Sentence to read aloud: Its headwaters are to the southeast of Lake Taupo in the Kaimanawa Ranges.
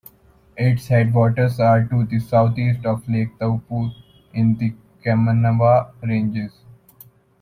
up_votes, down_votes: 2, 0